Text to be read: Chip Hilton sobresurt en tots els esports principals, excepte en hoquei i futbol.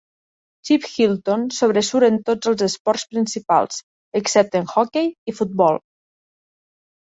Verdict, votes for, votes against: rejected, 1, 2